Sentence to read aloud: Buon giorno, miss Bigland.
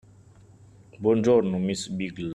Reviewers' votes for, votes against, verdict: 0, 2, rejected